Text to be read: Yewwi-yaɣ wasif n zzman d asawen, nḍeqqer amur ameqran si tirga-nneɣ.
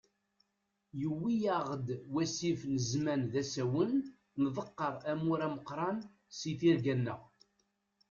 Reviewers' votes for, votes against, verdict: 1, 2, rejected